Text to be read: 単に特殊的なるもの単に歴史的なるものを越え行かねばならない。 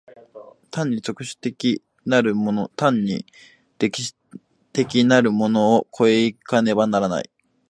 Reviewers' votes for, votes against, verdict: 2, 0, accepted